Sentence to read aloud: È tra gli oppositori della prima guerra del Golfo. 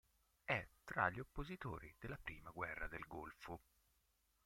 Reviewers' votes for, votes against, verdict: 1, 2, rejected